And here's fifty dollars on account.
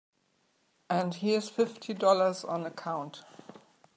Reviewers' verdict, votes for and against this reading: accepted, 3, 0